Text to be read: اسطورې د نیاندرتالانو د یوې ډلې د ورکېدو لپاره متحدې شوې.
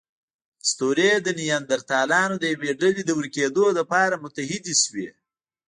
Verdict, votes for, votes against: rejected, 1, 2